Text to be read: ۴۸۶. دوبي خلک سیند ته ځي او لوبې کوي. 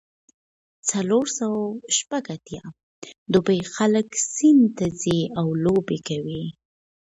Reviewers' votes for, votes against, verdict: 0, 2, rejected